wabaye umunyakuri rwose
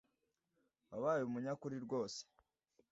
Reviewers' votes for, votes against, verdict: 2, 0, accepted